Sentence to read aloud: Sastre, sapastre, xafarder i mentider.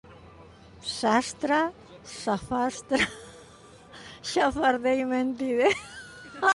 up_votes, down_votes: 1, 2